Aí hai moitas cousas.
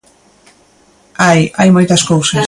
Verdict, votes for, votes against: rejected, 0, 2